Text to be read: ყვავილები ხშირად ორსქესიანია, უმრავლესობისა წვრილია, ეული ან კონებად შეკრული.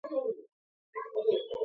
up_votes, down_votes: 0, 2